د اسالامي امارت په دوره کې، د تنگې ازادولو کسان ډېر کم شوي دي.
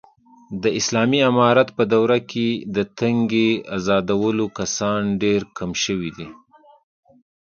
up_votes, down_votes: 2, 0